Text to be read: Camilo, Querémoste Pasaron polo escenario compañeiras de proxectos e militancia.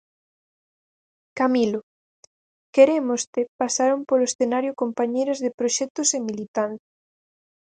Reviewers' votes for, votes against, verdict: 0, 4, rejected